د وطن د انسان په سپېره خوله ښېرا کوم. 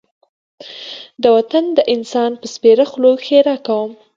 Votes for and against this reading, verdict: 3, 0, accepted